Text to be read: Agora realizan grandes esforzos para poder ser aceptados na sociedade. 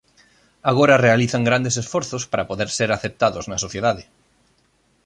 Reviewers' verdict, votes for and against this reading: accepted, 2, 0